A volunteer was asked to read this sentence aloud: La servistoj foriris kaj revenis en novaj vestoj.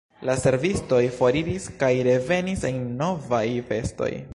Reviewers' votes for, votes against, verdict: 0, 2, rejected